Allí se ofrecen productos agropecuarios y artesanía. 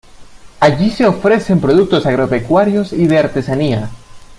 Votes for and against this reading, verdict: 0, 2, rejected